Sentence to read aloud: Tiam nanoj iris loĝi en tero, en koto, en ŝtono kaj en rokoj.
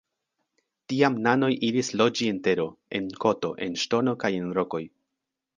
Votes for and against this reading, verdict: 2, 0, accepted